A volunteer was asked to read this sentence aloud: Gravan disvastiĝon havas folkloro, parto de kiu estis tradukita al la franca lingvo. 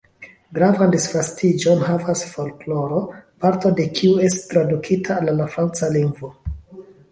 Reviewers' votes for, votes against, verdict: 2, 0, accepted